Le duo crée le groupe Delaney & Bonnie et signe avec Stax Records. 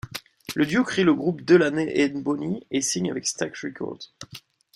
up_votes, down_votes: 1, 2